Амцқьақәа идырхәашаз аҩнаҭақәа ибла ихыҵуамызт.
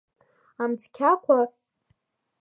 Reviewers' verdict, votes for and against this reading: rejected, 0, 2